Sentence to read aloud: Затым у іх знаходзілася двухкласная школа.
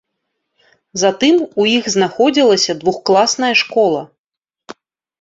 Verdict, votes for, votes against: rejected, 1, 2